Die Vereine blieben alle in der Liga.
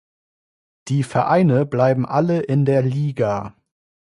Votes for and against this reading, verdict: 1, 2, rejected